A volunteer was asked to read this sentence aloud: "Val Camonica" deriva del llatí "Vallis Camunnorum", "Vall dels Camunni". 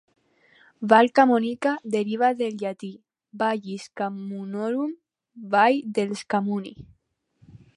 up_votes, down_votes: 4, 0